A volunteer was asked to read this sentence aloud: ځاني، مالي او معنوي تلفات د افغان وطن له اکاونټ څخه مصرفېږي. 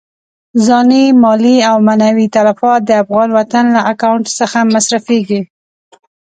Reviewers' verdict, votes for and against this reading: accepted, 2, 0